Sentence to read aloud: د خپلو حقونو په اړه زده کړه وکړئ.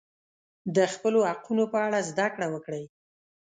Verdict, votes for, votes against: accepted, 2, 0